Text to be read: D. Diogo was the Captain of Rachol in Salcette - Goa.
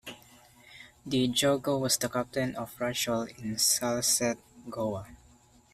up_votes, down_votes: 1, 2